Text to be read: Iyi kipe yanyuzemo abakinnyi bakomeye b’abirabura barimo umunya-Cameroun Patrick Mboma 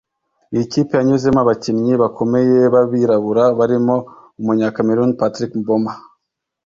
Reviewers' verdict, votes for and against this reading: accepted, 2, 0